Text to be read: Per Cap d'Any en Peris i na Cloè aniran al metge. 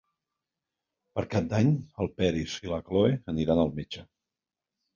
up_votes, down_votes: 0, 2